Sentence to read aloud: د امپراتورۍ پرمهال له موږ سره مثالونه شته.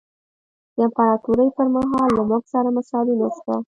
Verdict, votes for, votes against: rejected, 1, 2